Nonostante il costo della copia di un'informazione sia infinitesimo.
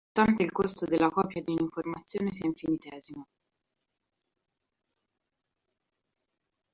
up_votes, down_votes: 1, 2